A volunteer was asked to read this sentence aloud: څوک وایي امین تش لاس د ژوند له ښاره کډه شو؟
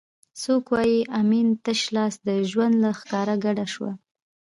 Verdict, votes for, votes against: rejected, 1, 2